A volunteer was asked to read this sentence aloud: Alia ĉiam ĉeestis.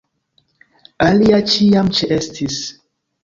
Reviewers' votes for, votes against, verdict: 2, 0, accepted